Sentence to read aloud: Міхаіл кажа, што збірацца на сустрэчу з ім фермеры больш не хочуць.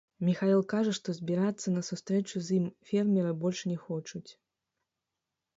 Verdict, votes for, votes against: rejected, 0, 2